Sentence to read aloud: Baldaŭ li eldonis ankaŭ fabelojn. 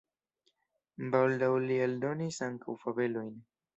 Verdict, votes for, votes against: accepted, 2, 0